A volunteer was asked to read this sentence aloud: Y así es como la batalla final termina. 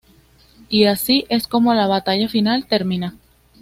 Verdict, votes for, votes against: accepted, 2, 0